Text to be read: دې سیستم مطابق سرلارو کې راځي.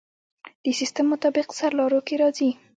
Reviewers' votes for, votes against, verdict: 1, 2, rejected